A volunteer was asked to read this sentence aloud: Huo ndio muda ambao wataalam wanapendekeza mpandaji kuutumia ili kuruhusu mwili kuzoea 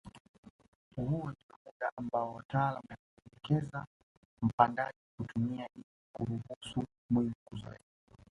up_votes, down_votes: 0, 2